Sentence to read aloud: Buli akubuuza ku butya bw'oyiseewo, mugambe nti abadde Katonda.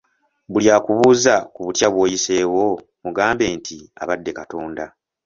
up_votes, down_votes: 2, 0